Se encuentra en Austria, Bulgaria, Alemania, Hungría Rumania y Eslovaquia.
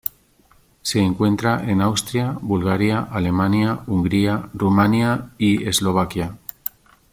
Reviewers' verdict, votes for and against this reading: accepted, 2, 0